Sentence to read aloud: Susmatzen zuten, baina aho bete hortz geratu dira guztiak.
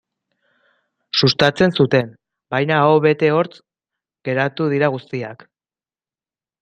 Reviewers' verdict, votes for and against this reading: rejected, 0, 2